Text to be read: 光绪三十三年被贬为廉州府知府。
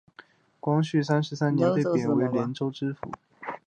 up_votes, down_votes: 3, 0